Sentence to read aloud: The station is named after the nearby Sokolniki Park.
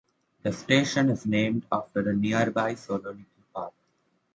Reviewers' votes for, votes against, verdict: 1, 2, rejected